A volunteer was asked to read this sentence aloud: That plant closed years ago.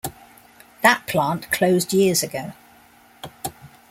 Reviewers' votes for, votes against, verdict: 2, 0, accepted